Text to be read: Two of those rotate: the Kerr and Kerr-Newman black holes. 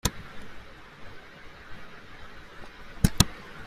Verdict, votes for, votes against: rejected, 0, 2